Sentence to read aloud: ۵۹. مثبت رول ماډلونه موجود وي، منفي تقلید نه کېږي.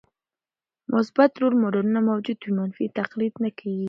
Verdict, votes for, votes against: rejected, 0, 2